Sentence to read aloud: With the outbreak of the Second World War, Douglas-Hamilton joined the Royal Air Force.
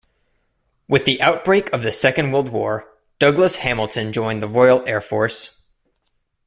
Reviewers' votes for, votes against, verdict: 2, 0, accepted